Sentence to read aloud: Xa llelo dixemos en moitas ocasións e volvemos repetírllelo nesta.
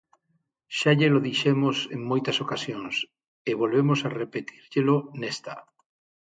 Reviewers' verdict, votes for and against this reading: rejected, 0, 6